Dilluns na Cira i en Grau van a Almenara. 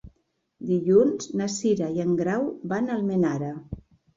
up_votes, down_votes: 2, 0